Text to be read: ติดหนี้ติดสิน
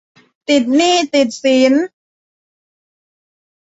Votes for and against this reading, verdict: 2, 0, accepted